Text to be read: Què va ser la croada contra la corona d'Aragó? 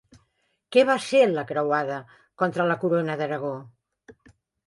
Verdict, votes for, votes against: rejected, 0, 2